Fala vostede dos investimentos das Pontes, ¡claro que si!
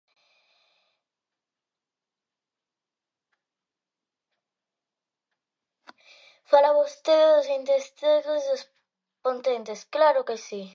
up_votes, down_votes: 0, 2